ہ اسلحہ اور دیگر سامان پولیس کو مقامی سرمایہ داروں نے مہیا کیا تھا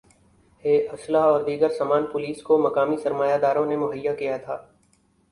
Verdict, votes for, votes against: accepted, 2, 0